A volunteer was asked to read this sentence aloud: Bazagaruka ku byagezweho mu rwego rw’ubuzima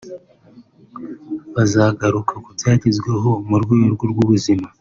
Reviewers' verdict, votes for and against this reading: accepted, 3, 2